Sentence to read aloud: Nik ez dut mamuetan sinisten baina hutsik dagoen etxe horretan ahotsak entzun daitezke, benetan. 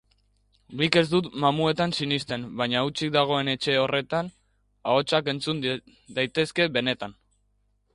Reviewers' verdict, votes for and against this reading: rejected, 0, 2